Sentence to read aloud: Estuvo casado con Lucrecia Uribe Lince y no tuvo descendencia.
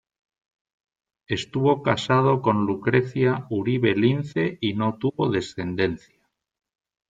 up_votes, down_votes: 2, 0